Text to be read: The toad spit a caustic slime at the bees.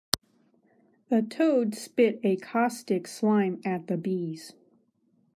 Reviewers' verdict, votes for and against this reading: rejected, 1, 2